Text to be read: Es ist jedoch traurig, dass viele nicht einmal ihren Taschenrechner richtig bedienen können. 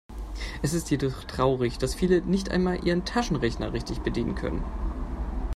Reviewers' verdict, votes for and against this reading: accepted, 2, 1